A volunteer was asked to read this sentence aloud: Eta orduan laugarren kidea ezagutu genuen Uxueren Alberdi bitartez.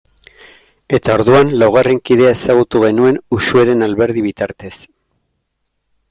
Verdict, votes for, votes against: rejected, 0, 2